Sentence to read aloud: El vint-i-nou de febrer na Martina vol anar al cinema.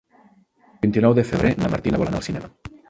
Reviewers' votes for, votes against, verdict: 0, 2, rejected